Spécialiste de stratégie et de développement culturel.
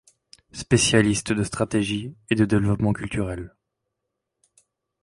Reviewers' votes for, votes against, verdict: 2, 0, accepted